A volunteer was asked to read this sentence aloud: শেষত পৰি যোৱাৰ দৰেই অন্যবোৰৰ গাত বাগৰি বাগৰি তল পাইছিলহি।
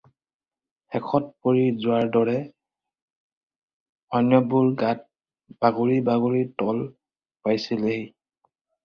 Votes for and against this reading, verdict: 2, 2, rejected